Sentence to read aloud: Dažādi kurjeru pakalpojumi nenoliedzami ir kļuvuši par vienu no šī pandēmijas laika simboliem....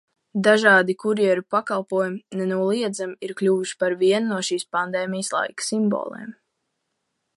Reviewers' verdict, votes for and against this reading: rejected, 1, 2